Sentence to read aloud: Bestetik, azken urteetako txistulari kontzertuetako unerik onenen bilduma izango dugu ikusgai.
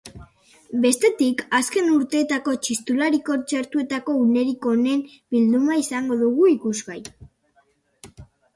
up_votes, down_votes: 2, 2